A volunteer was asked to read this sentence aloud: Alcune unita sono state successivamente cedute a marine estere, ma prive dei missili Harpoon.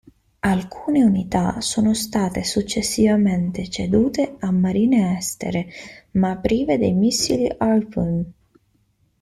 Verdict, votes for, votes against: rejected, 0, 2